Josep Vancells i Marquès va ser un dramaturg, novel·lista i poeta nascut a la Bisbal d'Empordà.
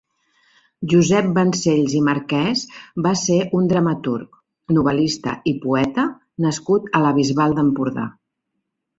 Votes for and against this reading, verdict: 2, 0, accepted